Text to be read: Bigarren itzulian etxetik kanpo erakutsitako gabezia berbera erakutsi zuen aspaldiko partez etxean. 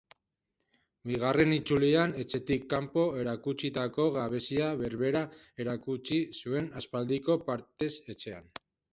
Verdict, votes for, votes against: accepted, 3, 0